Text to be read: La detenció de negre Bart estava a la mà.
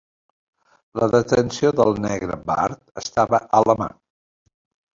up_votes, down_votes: 1, 2